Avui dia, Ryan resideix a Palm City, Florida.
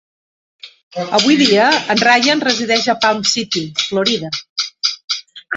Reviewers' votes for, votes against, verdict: 2, 3, rejected